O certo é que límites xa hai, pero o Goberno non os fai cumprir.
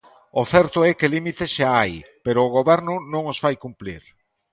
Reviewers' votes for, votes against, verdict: 1, 2, rejected